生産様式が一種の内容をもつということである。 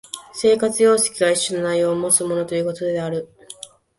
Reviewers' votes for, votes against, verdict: 0, 3, rejected